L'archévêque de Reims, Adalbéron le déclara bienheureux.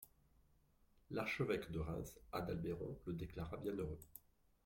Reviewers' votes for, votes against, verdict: 1, 2, rejected